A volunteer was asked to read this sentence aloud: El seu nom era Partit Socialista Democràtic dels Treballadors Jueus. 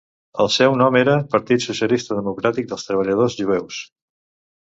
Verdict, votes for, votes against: accepted, 2, 0